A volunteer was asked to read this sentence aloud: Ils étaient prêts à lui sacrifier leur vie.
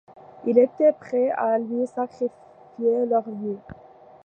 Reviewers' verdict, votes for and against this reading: rejected, 0, 2